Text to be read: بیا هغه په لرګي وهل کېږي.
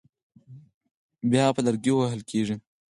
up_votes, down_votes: 4, 0